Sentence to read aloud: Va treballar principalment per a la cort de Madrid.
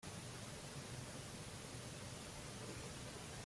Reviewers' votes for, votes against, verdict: 0, 3, rejected